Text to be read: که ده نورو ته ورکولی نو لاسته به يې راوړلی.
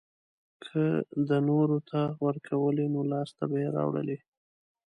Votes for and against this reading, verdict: 2, 0, accepted